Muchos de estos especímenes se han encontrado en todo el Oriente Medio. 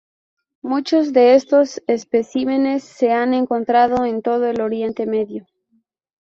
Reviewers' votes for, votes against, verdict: 2, 0, accepted